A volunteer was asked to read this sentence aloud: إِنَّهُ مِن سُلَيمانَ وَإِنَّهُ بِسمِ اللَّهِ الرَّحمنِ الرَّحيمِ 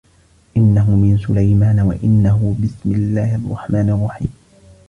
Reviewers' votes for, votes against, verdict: 2, 0, accepted